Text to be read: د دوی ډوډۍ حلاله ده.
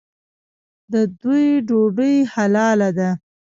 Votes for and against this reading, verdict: 1, 2, rejected